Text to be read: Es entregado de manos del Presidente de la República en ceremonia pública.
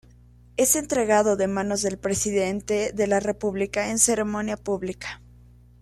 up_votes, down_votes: 1, 2